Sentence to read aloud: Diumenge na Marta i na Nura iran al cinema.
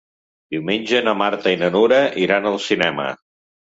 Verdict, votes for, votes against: accepted, 4, 0